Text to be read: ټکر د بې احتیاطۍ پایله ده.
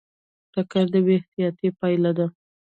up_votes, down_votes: 2, 1